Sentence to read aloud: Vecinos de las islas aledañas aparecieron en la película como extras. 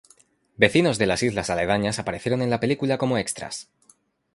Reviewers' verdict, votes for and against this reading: rejected, 0, 2